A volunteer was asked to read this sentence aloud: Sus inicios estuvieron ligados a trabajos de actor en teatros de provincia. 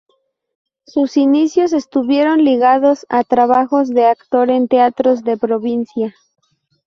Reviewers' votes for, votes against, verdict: 4, 0, accepted